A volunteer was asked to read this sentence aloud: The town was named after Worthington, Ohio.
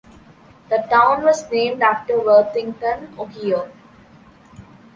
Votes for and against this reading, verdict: 2, 0, accepted